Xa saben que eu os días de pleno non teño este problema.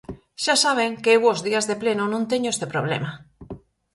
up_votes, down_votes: 4, 0